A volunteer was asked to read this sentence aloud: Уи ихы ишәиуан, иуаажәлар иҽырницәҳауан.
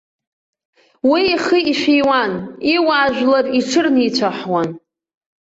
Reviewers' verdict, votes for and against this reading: rejected, 0, 2